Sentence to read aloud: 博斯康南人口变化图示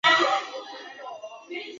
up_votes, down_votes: 0, 4